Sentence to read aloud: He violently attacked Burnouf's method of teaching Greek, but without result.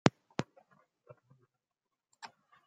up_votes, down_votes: 0, 2